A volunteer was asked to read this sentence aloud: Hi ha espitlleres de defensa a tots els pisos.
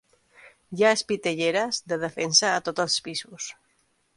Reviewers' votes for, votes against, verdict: 1, 2, rejected